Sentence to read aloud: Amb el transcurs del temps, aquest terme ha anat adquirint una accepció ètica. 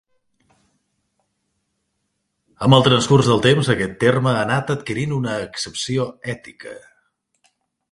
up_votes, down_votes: 2, 0